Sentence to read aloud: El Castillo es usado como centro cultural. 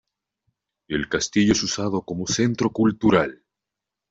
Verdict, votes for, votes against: accepted, 2, 1